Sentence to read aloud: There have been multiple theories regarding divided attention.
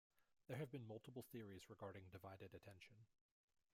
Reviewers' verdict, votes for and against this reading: rejected, 1, 2